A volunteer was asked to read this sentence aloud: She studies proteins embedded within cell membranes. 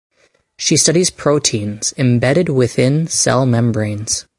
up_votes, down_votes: 2, 2